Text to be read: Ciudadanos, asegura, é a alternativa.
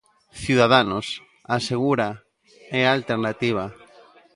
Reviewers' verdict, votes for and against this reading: accepted, 2, 0